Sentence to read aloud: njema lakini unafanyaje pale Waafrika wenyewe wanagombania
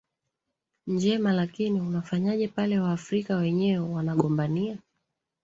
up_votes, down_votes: 0, 2